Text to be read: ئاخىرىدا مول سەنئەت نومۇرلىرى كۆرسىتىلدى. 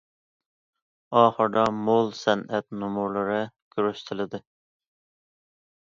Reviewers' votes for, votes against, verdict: 2, 0, accepted